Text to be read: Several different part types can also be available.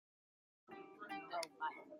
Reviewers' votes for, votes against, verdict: 0, 2, rejected